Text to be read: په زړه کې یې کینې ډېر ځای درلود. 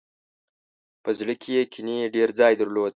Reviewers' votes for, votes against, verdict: 2, 0, accepted